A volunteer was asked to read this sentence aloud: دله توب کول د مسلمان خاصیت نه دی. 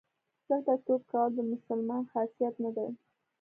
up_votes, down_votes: 0, 2